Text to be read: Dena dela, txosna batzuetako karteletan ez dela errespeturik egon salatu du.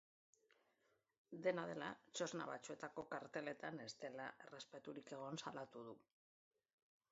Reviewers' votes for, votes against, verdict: 2, 3, rejected